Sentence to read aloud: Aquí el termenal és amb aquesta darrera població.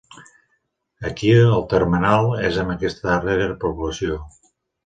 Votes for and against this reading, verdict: 1, 2, rejected